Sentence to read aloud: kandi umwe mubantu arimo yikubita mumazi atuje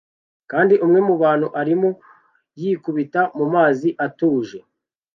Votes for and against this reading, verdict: 2, 0, accepted